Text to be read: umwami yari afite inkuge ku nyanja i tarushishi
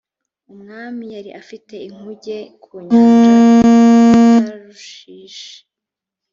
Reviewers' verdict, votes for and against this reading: rejected, 0, 2